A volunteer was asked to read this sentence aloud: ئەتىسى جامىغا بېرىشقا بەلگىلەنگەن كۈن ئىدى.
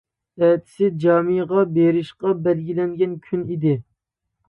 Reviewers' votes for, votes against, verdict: 2, 0, accepted